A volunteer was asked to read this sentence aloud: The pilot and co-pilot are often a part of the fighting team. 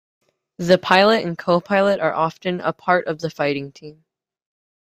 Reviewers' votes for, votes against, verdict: 2, 0, accepted